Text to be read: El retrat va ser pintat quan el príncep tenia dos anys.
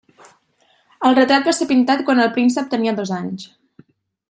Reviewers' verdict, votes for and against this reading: accepted, 2, 0